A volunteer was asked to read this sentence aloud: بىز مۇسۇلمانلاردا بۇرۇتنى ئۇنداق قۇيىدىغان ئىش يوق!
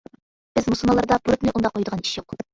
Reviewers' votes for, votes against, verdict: 2, 0, accepted